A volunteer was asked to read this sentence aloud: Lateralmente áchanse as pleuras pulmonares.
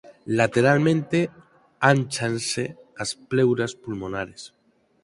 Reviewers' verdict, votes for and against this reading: rejected, 0, 4